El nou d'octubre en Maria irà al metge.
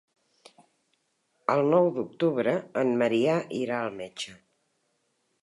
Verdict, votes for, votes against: rejected, 0, 2